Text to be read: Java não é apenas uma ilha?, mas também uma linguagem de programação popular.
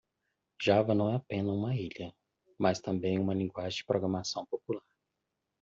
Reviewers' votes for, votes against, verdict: 1, 2, rejected